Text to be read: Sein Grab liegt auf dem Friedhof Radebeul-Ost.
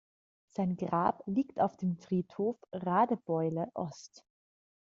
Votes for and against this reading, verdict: 1, 2, rejected